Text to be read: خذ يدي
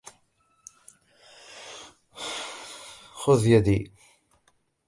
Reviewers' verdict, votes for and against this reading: rejected, 0, 2